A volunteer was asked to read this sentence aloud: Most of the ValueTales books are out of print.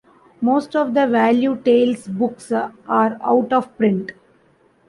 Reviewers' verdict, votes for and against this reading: rejected, 1, 2